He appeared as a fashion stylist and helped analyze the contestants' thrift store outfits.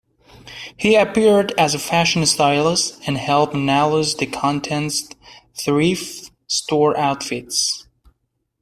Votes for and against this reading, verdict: 1, 2, rejected